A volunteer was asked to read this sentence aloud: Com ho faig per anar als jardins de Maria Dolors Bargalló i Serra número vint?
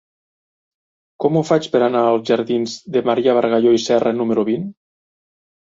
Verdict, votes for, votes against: rejected, 1, 2